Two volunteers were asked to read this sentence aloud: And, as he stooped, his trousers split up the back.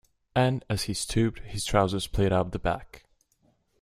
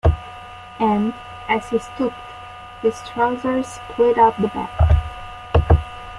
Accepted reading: first